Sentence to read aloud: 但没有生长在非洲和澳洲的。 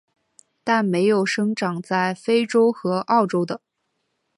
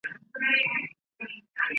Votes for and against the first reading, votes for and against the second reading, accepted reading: 3, 0, 0, 2, first